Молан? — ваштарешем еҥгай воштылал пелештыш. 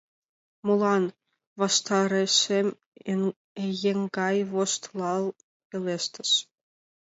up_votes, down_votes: 2, 1